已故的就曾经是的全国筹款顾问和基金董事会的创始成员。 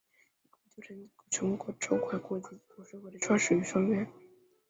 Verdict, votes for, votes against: rejected, 4, 5